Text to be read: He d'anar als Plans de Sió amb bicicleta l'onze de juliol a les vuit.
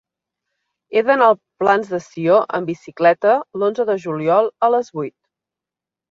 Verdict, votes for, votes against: rejected, 0, 2